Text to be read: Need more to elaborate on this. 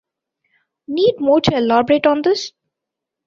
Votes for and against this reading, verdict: 2, 0, accepted